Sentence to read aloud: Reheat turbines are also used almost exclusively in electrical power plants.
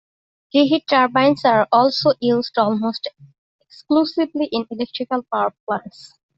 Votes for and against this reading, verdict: 2, 1, accepted